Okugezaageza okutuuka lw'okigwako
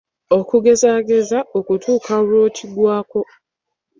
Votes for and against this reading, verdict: 0, 2, rejected